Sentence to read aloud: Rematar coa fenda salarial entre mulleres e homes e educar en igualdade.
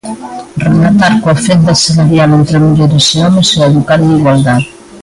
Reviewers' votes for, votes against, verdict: 1, 2, rejected